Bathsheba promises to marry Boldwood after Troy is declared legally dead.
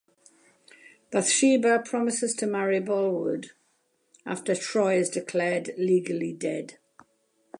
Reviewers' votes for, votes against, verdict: 2, 0, accepted